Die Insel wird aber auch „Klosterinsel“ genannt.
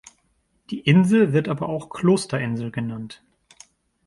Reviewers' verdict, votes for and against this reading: accepted, 2, 0